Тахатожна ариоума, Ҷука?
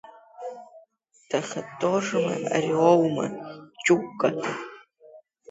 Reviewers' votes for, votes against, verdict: 2, 0, accepted